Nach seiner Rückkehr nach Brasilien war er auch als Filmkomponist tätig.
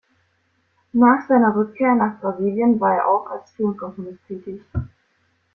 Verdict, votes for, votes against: accepted, 2, 1